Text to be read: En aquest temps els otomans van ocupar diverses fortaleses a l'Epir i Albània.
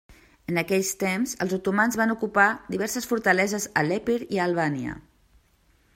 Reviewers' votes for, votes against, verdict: 0, 2, rejected